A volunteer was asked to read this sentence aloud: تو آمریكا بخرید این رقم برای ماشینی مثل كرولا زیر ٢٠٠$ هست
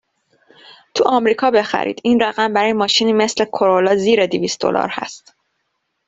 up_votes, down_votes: 0, 2